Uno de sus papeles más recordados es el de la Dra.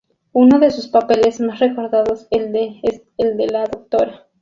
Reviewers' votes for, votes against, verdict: 0, 4, rejected